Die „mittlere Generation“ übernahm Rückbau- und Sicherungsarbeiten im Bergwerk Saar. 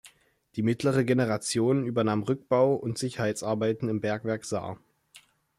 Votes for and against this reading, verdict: 1, 2, rejected